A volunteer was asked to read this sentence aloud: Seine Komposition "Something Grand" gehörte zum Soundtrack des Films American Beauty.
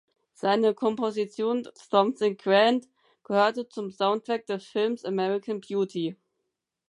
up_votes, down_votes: 4, 0